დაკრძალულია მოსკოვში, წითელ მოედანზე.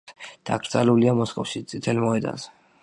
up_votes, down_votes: 1, 2